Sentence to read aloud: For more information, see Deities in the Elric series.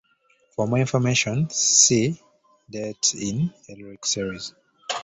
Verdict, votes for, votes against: rejected, 0, 2